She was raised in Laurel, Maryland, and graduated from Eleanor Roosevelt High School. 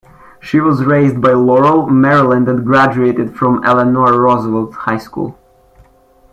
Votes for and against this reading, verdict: 0, 2, rejected